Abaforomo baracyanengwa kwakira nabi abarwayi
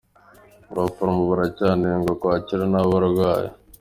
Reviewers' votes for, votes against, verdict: 2, 1, accepted